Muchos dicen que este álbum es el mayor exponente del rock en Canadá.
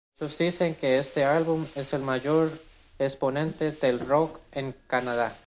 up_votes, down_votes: 1, 2